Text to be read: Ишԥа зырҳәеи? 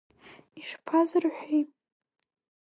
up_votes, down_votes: 2, 0